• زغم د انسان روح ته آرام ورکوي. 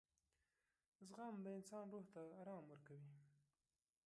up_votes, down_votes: 0, 2